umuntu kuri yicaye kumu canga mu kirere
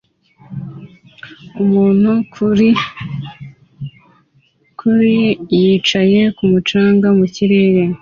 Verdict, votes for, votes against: accepted, 2, 1